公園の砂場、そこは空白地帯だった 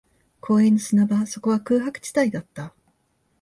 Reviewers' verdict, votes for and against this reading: accepted, 2, 0